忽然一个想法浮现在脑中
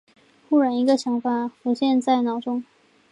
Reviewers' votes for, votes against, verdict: 1, 2, rejected